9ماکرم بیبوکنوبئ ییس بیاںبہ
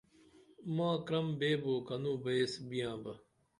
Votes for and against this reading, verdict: 0, 2, rejected